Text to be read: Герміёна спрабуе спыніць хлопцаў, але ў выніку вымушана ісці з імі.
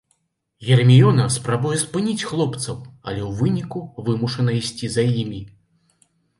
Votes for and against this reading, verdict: 1, 2, rejected